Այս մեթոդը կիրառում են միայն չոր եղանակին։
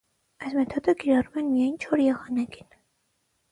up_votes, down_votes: 6, 0